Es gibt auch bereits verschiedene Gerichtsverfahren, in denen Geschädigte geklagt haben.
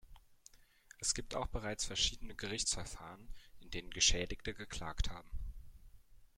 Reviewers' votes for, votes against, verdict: 2, 1, accepted